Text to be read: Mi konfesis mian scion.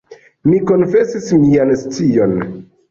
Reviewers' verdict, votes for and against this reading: rejected, 1, 2